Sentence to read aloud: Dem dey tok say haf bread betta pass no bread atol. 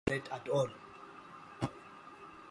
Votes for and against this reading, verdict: 0, 2, rejected